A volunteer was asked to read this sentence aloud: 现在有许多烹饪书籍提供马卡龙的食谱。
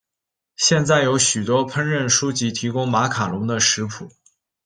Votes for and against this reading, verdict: 2, 0, accepted